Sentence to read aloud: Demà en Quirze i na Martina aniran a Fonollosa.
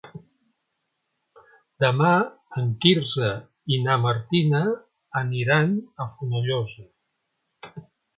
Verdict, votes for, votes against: accepted, 3, 0